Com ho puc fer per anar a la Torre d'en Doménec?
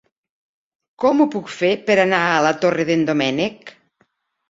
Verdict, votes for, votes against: accepted, 2, 0